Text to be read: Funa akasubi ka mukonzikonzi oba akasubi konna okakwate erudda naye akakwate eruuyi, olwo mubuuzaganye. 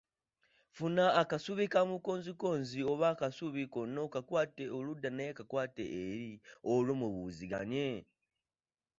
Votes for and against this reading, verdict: 1, 2, rejected